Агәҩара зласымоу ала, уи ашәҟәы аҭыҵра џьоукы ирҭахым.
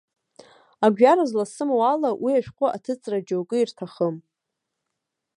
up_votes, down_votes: 2, 1